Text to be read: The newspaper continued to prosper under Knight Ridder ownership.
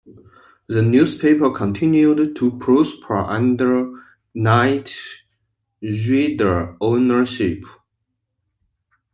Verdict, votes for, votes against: rejected, 1, 2